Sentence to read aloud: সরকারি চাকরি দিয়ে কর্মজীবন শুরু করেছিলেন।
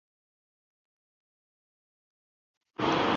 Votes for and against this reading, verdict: 0, 3, rejected